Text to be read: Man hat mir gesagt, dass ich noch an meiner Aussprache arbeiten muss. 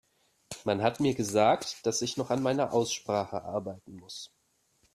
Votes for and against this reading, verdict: 2, 0, accepted